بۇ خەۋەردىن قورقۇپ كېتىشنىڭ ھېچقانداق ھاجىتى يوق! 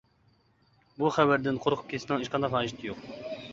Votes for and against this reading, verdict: 0, 2, rejected